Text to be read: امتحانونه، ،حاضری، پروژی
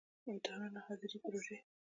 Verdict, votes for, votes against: rejected, 0, 2